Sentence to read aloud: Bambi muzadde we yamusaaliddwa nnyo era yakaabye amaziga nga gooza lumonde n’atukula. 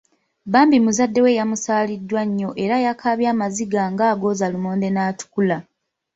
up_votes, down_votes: 2, 1